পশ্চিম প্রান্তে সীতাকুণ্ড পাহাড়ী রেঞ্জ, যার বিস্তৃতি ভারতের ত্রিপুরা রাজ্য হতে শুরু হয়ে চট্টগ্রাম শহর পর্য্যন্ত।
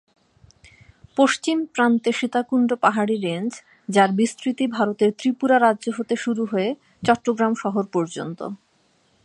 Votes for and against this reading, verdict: 6, 0, accepted